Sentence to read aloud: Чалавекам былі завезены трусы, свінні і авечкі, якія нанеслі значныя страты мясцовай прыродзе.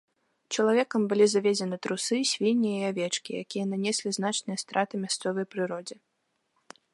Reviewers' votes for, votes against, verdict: 3, 1, accepted